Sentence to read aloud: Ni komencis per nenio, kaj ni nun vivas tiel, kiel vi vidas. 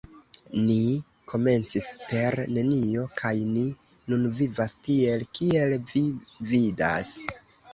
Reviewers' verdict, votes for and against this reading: rejected, 0, 2